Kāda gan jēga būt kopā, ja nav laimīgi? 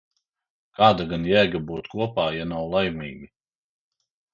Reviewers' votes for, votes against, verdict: 3, 0, accepted